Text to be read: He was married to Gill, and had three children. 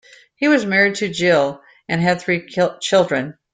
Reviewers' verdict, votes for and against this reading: rejected, 0, 2